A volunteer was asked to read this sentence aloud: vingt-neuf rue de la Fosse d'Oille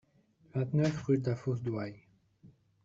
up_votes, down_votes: 0, 2